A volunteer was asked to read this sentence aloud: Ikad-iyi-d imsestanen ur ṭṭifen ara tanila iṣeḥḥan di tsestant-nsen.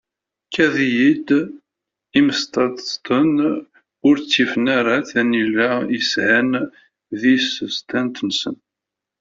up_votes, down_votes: 0, 2